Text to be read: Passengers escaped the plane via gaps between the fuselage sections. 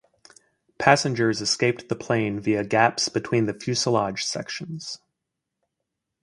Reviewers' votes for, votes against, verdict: 4, 0, accepted